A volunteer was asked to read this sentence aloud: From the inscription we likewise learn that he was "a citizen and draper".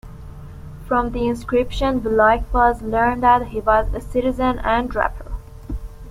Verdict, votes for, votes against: rejected, 1, 2